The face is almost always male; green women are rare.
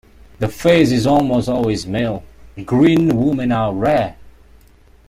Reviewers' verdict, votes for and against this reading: accepted, 2, 0